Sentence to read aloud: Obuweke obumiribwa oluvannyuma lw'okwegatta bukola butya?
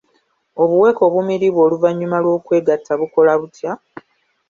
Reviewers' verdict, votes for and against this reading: accepted, 2, 0